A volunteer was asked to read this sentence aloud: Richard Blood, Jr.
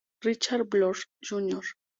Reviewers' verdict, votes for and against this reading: accepted, 6, 0